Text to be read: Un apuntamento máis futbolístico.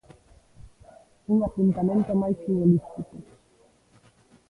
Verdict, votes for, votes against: accepted, 2, 0